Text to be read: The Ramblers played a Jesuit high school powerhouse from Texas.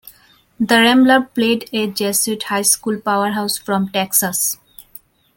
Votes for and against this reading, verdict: 0, 2, rejected